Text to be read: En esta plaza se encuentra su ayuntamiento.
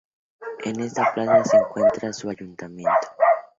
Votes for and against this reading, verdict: 0, 6, rejected